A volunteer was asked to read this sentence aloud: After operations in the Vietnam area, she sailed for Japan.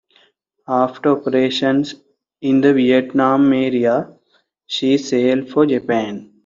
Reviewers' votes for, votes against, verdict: 2, 0, accepted